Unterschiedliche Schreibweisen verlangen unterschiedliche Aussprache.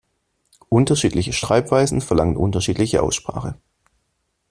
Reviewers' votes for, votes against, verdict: 2, 0, accepted